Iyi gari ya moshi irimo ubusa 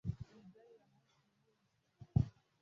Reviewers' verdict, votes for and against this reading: rejected, 0, 2